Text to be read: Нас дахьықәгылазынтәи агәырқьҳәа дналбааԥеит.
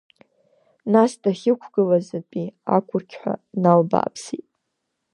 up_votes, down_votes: 0, 2